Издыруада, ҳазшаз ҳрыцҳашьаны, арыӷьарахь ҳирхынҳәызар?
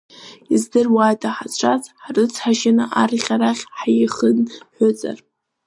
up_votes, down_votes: 0, 2